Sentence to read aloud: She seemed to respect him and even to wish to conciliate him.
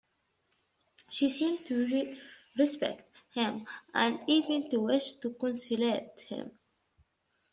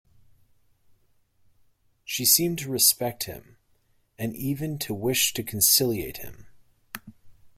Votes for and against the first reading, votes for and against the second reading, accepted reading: 1, 2, 2, 0, second